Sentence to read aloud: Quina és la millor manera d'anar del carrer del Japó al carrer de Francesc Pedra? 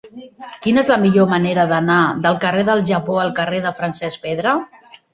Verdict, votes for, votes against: rejected, 1, 2